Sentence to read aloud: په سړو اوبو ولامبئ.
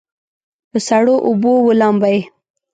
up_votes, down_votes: 3, 0